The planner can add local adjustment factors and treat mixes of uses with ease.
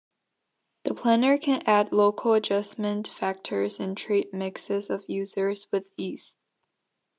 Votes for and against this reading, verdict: 1, 2, rejected